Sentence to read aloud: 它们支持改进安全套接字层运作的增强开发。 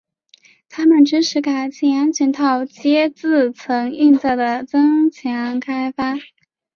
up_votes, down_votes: 2, 0